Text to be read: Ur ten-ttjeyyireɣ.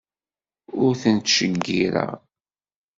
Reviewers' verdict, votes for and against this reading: rejected, 1, 2